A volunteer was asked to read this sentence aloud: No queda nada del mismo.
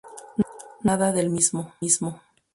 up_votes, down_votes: 0, 2